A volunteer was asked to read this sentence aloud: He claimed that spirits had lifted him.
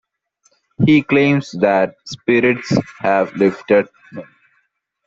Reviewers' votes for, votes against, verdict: 1, 2, rejected